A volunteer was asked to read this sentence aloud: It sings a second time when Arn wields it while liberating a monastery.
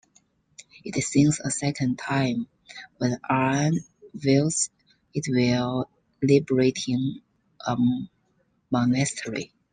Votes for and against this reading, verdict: 1, 2, rejected